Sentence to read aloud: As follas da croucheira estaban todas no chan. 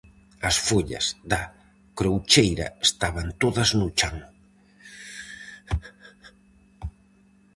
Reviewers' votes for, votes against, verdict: 4, 0, accepted